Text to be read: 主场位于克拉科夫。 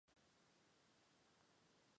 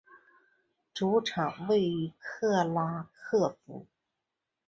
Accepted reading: second